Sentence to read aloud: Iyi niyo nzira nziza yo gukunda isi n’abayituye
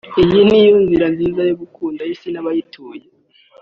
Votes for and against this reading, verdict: 2, 0, accepted